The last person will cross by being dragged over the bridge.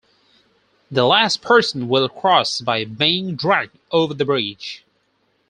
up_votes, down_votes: 4, 0